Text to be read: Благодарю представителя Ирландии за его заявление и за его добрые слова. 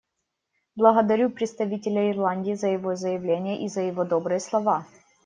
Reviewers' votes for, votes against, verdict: 1, 2, rejected